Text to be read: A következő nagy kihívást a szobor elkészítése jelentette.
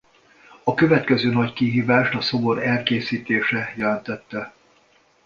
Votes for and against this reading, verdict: 2, 0, accepted